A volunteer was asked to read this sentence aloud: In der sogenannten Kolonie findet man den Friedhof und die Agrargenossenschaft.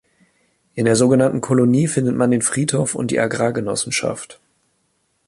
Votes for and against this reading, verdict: 2, 0, accepted